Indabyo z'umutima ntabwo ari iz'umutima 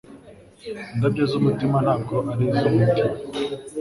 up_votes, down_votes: 2, 0